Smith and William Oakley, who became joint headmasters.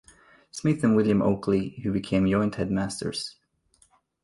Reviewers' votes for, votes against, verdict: 2, 0, accepted